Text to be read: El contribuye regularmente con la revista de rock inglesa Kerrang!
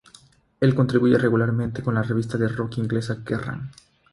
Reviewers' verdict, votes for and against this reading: rejected, 0, 3